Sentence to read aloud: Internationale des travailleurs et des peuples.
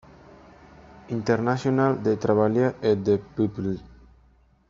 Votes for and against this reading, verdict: 0, 2, rejected